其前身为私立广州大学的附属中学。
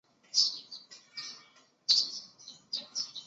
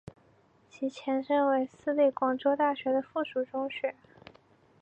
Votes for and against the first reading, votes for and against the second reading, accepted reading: 0, 2, 3, 0, second